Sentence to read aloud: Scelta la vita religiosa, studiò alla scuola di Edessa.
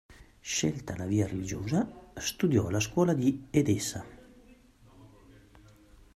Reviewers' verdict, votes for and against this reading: rejected, 0, 2